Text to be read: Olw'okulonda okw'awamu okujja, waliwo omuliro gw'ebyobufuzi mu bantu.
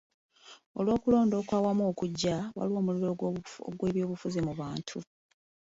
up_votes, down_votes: 2, 1